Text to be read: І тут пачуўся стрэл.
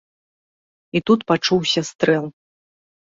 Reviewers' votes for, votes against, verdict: 2, 0, accepted